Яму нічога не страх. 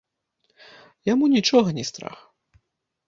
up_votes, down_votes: 2, 0